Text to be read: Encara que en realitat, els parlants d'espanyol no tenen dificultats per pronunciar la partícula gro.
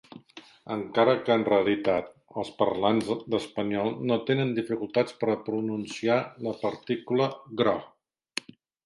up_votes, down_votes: 2, 4